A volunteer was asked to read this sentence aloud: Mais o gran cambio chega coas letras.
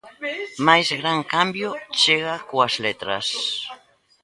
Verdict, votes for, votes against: rejected, 1, 2